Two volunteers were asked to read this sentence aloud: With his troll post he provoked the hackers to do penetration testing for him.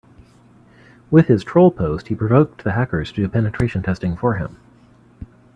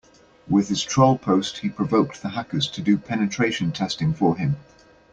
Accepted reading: second